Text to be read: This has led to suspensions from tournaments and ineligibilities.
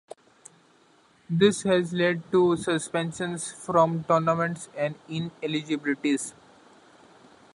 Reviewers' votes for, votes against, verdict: 0, 2, rejected